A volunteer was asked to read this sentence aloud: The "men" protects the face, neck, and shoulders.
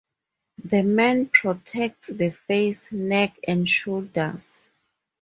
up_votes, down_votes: 2, 0